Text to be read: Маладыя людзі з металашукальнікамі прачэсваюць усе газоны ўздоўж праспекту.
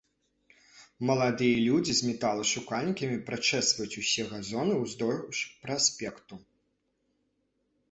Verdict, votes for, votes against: rejected, 1, 2